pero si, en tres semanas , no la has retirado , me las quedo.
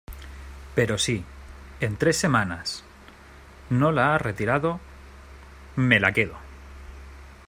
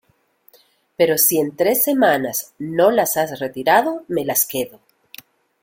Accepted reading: second